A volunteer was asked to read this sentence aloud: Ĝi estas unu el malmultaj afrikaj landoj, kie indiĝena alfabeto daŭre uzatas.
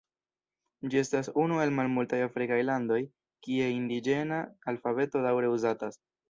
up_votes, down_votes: 1, 2